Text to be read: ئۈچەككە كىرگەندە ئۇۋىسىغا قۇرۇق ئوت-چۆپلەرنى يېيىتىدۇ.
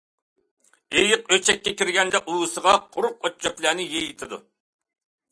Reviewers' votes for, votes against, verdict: 0, 2, rejected